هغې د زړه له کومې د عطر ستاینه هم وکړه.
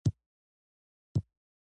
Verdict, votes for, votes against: rejected, 0, 2